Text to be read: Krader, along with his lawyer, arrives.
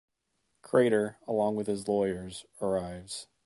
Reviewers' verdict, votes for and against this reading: rejected, 0, 2